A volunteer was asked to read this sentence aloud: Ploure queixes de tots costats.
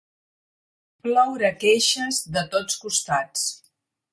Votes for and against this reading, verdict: 4, 0, accepted